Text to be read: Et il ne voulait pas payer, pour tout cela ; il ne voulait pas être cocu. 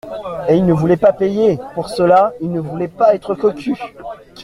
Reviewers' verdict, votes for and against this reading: rejected, 0, 2